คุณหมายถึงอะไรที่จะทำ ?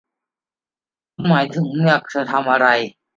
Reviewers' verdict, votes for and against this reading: rejected, 0, 2